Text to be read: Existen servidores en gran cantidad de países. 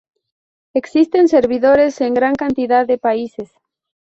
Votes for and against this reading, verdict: 2, 0, accepted